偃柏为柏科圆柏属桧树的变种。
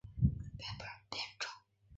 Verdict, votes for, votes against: rejected, 1, 2